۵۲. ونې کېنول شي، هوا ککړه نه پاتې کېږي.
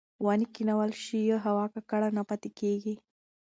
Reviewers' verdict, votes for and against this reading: rejected, 0, 2